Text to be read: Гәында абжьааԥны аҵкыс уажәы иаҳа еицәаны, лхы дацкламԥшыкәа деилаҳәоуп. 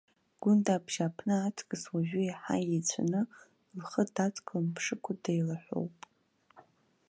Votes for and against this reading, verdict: 1, 2, rejected